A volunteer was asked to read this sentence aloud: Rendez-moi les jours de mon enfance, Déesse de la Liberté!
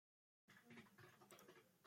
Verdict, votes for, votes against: rejected, 0, 2